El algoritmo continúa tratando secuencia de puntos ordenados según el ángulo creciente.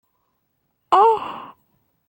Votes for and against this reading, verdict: 0, 2, rejected